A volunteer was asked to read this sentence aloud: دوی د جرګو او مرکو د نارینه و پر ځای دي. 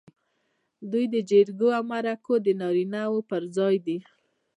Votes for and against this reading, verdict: 2, 0, accepted